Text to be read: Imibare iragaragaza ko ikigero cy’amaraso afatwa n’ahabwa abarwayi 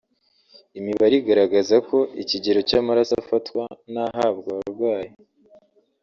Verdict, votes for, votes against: rejected, 1, 2